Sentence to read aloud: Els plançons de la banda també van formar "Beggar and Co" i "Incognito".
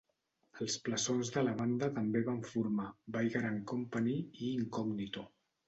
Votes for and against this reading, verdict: 1, 2, rejected